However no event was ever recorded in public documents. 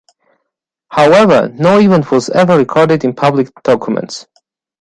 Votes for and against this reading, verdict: 2, 0, accepted